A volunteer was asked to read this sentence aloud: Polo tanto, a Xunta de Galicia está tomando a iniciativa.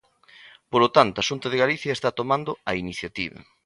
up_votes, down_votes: 2, 0